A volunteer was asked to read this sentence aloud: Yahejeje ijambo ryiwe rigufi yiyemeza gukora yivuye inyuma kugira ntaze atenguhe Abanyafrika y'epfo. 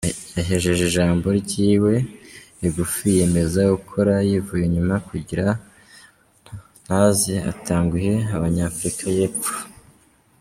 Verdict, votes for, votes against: rejected, 0, 2